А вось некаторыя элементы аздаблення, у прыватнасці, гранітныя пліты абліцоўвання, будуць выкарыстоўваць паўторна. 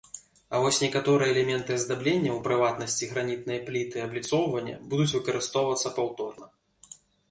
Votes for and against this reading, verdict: 1, 2, rejected